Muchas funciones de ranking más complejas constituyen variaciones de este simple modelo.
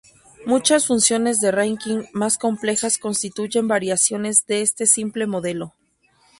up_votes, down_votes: 0, 2